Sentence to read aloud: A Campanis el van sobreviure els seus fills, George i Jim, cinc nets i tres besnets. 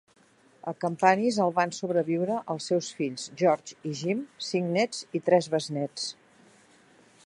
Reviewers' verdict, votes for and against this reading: accepted, 4, 0